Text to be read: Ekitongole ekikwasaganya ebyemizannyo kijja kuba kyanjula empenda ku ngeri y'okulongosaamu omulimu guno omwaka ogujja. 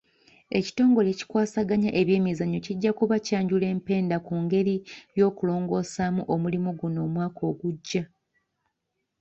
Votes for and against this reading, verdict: 2, 1, accepted